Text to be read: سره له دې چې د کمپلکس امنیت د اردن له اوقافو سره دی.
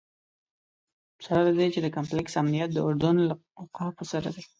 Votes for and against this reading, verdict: 2, 0, accepted